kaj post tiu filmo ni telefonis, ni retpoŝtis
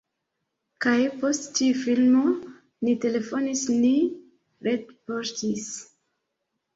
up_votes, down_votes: 2, 1